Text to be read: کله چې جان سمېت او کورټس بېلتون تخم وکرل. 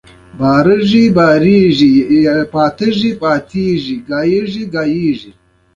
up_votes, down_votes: 2, 1